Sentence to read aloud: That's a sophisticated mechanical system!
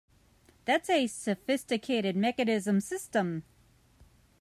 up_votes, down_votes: 1, 2